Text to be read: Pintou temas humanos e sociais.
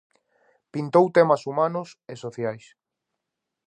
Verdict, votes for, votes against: accepted, 2, 0